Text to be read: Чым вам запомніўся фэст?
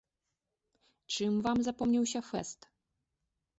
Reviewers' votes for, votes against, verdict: 2, 0, accepted